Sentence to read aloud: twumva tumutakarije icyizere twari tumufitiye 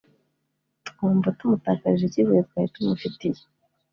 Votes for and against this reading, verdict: 3, 0, accepted